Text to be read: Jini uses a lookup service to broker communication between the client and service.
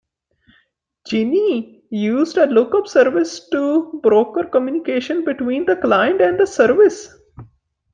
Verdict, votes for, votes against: rejected, 0, 2